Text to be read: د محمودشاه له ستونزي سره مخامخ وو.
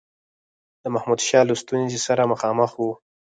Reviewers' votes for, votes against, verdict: 2, 4, rejected